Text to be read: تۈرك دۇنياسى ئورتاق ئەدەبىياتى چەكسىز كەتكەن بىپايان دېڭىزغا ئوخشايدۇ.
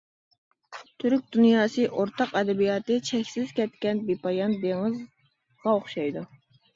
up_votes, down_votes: 1, 2